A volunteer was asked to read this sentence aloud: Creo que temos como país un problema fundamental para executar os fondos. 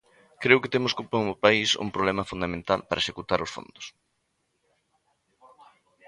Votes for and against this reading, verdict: 0, 2, rejected